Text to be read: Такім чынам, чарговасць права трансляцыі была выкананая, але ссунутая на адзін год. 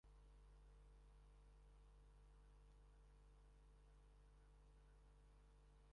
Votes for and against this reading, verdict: 0, 2, rejected